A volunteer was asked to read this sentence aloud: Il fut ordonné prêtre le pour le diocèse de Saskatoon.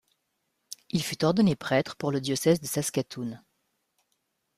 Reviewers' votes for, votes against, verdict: 1, 2, rejected